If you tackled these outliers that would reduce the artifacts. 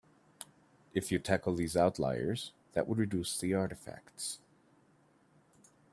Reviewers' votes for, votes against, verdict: 2, 0, accepted